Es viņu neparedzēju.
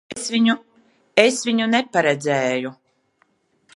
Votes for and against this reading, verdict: 1, 3, rejected